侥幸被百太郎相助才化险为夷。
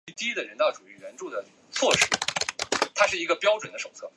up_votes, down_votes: 1, 2